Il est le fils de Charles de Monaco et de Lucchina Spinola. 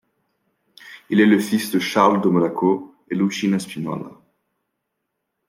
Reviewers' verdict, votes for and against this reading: rejected, 0, 2